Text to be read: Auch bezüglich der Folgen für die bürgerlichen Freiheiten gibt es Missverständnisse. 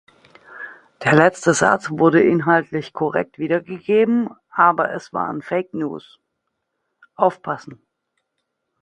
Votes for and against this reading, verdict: 0, 2, rejected